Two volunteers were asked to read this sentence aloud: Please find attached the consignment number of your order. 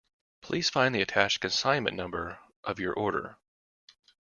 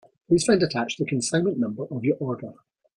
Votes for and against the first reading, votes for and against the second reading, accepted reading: 1, 2, 2, 0, second